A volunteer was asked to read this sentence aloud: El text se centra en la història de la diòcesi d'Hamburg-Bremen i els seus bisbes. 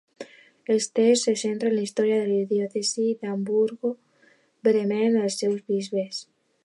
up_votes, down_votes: 0, 2